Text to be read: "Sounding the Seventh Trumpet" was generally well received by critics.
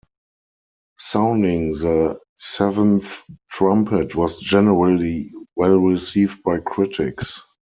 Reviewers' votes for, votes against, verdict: 4, 0, accepted